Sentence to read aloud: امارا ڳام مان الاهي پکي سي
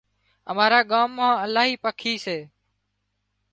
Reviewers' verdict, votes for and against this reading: accepted, 2, 0